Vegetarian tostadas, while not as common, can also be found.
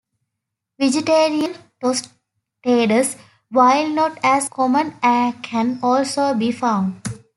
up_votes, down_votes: 1, 2